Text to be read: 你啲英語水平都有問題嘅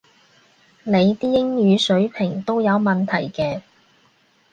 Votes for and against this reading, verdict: 2, 0, accepted